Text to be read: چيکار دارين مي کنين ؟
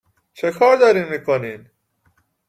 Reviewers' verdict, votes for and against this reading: accepted, 2, 1